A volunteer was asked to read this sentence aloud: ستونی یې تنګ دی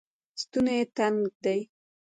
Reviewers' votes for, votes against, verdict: 1, 2, rejected